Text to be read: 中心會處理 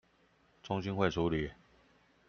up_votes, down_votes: 2, 0